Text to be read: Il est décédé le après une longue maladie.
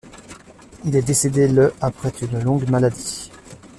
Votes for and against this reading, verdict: 0, 2, rejected